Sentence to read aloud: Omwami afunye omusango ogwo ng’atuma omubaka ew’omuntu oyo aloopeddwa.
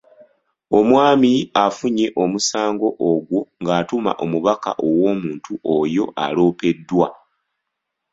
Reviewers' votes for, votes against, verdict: 2, 0, accepted